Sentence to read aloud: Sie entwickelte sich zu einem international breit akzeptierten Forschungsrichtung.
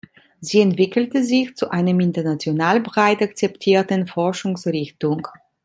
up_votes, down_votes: 2, 0